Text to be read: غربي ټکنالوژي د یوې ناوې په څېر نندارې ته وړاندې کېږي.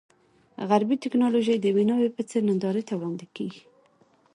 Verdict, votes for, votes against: accepted, 2, 0